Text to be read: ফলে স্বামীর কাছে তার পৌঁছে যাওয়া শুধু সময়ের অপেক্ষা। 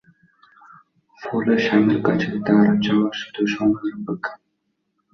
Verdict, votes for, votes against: rejected, 1, 6